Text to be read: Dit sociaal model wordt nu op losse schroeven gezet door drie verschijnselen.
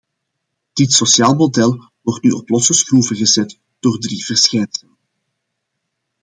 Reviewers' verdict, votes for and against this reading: rejected, 0, 2